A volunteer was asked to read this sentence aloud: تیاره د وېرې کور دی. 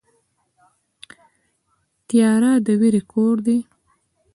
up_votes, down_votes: 2, 1